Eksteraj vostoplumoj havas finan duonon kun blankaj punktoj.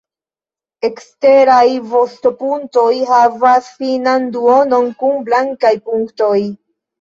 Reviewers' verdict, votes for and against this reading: accepted, 2, 1